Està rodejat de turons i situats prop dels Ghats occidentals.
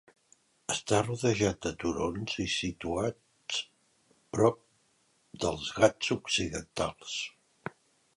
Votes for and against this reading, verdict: 2, 0, accepted